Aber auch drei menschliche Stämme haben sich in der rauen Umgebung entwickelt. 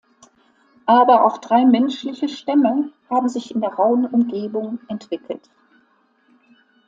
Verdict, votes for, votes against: accepted, 2, 0